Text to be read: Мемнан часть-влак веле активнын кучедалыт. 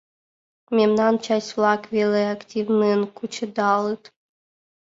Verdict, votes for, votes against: accepted, 2, 0